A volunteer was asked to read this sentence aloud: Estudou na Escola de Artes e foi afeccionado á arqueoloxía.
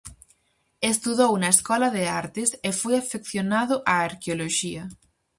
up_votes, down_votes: 4, 0